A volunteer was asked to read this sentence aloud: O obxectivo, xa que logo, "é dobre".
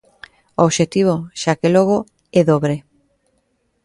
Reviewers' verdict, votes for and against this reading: accepted, 2, 0